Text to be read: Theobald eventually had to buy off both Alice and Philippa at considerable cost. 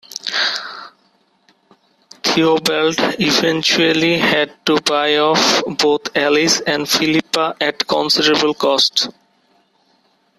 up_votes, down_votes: 2, 1